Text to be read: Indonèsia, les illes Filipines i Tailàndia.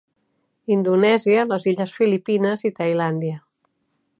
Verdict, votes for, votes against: accepted, 3, 0